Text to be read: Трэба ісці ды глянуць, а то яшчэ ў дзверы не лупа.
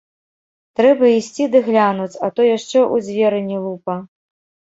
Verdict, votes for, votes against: rejected, 1, 3